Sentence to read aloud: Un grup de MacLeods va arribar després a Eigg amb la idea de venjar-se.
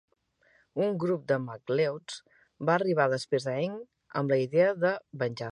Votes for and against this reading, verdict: 1, 2, rejected